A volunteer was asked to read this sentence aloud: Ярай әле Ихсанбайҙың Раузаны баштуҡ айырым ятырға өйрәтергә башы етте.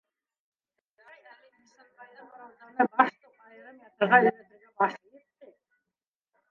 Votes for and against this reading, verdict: 0, 2, rejected